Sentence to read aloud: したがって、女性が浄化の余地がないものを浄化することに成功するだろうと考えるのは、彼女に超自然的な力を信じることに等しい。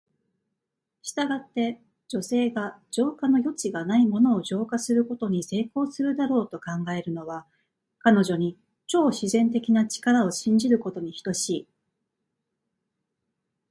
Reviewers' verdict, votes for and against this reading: rejected, 1, 2